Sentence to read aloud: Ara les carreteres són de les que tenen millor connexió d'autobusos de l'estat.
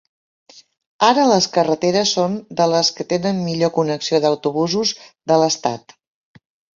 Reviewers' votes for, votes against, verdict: 5, 0, accepted